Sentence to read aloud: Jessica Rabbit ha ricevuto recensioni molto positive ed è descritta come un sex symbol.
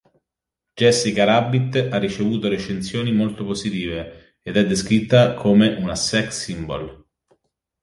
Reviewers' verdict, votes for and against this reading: rejected, 0, 2